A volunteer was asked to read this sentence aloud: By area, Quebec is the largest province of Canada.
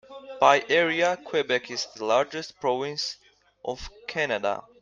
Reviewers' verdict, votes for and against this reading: rejected, 1, 2